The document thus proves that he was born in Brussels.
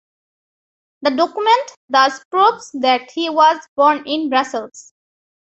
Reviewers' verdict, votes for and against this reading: accepted, 2, 0